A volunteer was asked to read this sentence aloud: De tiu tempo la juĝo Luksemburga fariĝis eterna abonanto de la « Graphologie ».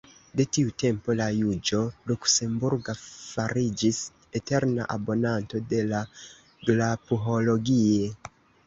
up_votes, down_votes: 1, 3